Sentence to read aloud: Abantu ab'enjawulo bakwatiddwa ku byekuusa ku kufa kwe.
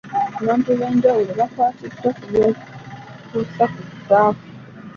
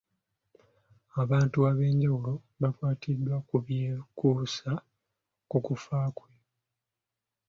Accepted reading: second